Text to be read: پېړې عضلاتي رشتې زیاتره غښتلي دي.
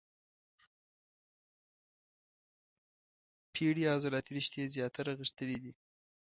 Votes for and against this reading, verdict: 2, 3, rejected